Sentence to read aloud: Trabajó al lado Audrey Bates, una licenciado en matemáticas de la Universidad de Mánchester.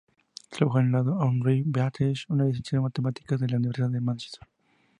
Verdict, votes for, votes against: accepted, 2, 0